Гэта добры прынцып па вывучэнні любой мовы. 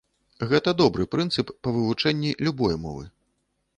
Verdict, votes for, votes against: accepted, 2, 0